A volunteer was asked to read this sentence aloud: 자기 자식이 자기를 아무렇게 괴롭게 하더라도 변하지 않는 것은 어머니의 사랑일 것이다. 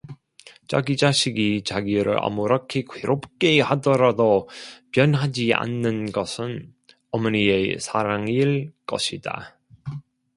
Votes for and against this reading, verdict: 0, 2, rejected